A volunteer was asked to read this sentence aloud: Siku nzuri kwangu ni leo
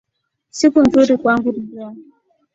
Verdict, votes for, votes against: accepted, 2, 0